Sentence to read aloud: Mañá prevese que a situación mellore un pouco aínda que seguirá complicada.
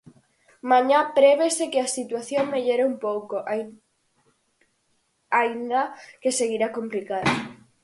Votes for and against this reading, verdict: 0, 4, rejected